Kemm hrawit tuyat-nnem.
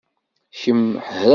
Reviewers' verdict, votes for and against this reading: rejected, 0, 2